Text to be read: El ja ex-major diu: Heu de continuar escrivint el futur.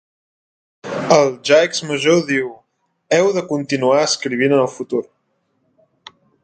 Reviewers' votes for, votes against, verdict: 2, 0, accepted